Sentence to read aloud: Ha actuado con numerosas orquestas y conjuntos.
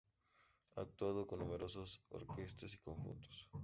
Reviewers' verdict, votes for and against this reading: rejected, 0, 2